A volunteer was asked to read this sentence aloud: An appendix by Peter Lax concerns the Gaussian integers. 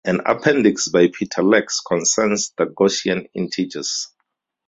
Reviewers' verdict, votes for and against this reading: accepted, 4, 0